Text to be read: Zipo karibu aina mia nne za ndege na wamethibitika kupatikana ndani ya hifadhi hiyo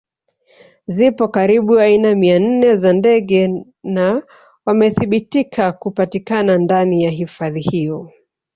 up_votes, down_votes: 2, 3